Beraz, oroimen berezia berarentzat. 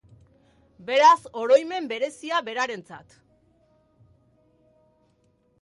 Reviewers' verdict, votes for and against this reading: accepted, 2, 0